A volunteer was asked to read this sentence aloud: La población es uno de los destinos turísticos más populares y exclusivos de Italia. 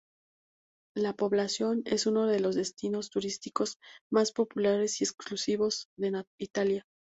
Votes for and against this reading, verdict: 2, 0, accepted